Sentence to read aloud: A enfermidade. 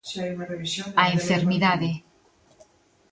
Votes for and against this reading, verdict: 0, 2, rejected